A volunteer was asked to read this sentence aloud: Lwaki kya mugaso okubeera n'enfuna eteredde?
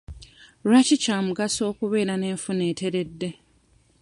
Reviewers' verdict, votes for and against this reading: accepted, 2, 0